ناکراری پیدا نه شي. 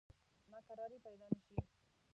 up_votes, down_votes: 1, 2